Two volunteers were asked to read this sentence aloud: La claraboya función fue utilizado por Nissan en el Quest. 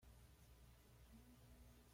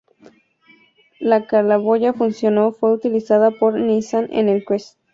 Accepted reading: second